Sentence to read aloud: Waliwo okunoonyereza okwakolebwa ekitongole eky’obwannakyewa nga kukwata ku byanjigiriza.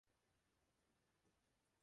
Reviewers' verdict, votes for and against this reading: rejected, 0, 2